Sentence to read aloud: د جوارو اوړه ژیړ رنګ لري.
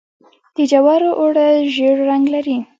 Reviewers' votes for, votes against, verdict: 1, 2, rejected